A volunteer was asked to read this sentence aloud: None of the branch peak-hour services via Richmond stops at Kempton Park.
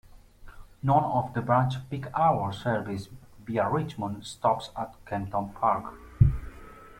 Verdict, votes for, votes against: rejected, 0, 2